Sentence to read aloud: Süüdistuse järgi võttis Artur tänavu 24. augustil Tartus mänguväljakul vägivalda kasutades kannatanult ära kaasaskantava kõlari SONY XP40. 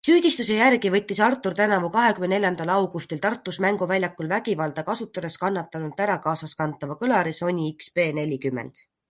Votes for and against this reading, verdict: 0, 2, rejected